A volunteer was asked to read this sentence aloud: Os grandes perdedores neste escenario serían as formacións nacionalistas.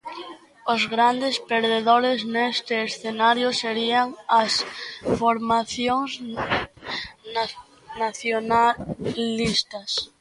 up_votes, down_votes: 0, 2